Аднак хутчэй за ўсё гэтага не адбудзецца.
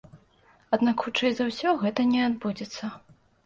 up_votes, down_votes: 1, 2